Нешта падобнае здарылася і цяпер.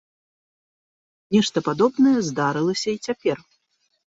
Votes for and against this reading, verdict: 2, 0, accepted